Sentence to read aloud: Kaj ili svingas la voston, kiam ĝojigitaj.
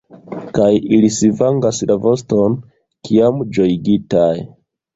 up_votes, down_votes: 0, 2